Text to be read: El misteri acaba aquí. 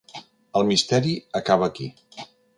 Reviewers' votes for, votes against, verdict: 5, 0, accepted